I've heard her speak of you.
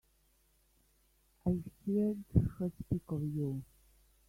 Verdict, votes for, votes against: rejected, 0, 2